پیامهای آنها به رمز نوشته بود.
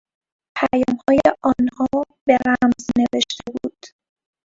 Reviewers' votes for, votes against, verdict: 0, 2, rejected